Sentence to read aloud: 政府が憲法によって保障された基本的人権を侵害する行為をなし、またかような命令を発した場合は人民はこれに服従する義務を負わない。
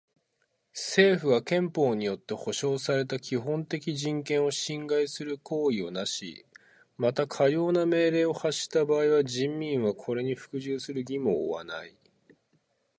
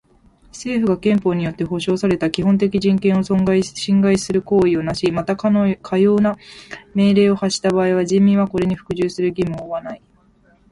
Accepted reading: first